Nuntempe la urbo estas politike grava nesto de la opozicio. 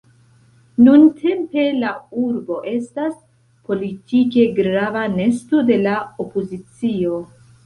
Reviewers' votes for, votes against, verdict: 2, 0, accepted